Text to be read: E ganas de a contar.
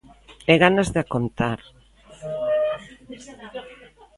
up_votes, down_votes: 2, 1